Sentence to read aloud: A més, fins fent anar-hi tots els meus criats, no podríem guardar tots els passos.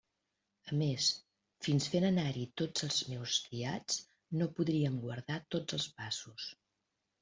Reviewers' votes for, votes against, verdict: 2, 1, accepted